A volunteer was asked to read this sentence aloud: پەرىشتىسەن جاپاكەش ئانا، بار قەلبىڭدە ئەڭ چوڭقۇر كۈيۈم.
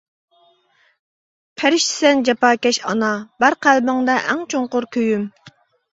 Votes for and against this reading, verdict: 2, 0, accepted